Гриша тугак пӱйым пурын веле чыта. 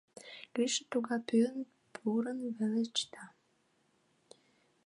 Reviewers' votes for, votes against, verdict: 0, 2, rejected